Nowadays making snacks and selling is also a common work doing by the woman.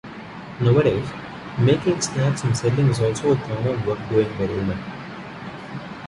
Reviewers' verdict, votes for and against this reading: rejected, 1, 2